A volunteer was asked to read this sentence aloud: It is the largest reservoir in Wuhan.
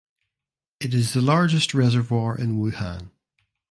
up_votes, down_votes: 2, 0